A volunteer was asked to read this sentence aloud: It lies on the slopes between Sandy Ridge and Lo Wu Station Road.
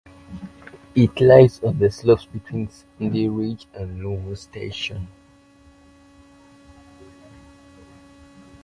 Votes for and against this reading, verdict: 0, 2, rejected